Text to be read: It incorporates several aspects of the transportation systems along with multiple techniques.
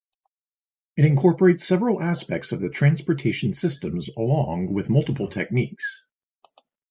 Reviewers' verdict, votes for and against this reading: accepted, 2, 0